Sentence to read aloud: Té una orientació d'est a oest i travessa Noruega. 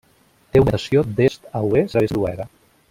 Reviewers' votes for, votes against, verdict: 0, 2, rejected